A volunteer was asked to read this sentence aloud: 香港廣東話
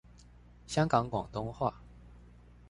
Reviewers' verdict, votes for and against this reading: accepted, 2, 0